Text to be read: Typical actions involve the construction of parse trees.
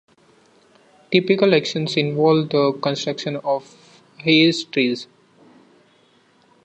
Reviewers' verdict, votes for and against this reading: rejected, 0, 2